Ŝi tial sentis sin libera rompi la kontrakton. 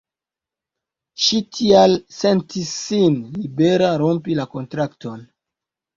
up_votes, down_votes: 2, 0